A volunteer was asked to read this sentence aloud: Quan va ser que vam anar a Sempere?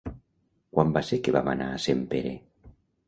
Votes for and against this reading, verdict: 2, 0, accepted